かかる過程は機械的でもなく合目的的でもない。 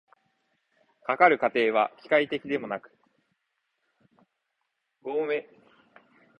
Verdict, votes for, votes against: rejected, 1, 2